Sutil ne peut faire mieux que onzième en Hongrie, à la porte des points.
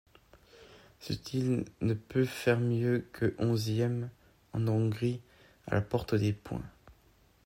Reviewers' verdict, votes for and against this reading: rejected, 1, 2